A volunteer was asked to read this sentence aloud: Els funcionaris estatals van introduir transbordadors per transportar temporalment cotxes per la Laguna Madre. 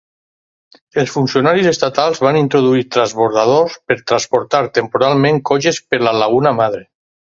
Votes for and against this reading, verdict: 4, 0, accepted